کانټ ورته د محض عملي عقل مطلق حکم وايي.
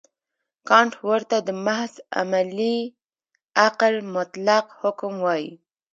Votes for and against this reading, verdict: 2, 0, accepted